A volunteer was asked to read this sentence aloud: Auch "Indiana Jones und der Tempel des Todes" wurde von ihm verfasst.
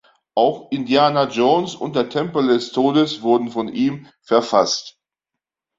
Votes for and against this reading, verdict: 0, 2, rejected